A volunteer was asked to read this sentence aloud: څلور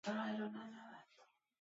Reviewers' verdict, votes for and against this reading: rejected, 0, 2